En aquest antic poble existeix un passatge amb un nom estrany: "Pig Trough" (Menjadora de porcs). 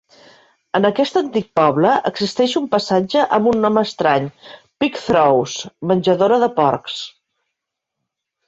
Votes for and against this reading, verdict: 2, 0, accepted